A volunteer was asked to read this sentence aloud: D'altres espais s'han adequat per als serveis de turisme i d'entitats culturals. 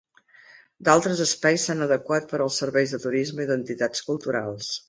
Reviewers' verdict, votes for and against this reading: accepted, 3, 0